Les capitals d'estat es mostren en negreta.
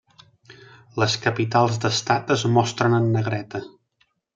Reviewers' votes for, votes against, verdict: 3, 0, accepted